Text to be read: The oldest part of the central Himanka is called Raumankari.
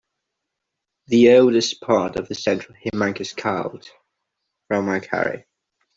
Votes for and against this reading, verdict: 1, 2, rejected